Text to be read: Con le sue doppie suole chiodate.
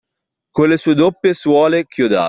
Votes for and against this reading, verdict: 1, 2, rejected